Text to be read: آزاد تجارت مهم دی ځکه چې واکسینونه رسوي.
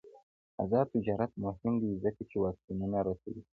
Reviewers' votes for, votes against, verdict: 1, 2, rejected